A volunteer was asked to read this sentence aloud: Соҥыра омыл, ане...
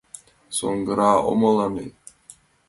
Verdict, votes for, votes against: rejected, 1, 2